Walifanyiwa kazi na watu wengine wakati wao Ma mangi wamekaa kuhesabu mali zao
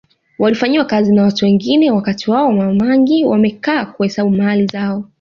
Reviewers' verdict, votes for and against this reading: accepted, 2, 0